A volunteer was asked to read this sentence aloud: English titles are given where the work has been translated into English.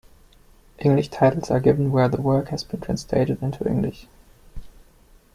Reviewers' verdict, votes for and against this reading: accepted, 2, 0